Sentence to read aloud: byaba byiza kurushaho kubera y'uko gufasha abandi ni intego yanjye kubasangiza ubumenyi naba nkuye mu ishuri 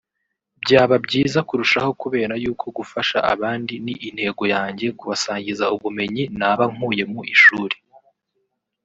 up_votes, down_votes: 1, 2